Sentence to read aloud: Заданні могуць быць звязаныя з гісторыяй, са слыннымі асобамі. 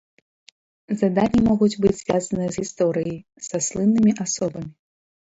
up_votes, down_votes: 1, 2